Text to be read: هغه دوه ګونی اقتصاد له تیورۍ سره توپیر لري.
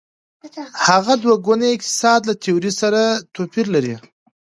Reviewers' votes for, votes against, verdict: 2, 0, accepted